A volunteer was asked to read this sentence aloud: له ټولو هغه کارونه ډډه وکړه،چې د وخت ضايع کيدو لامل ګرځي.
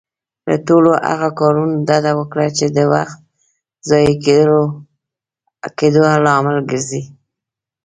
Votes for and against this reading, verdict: 2, 0, accepted